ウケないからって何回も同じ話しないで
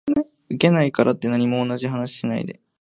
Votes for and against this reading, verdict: 0, 2, rejected